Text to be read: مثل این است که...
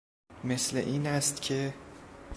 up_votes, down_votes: 2, 0